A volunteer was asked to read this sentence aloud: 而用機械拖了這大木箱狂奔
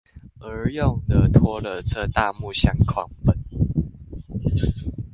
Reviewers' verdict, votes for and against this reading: rejected, 0, 2